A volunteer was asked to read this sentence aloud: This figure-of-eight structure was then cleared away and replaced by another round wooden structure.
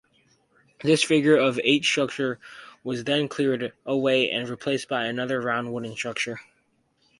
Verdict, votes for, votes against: rejected, 2, 2